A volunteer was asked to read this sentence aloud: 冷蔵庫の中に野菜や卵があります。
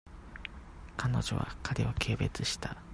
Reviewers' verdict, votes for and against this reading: rejected, 0, 2